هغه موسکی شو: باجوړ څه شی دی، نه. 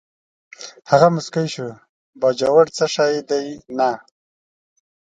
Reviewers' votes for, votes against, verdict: 2, 0, accepted